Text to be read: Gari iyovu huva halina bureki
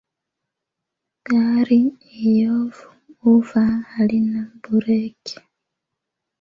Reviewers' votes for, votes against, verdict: 0, 2, rejected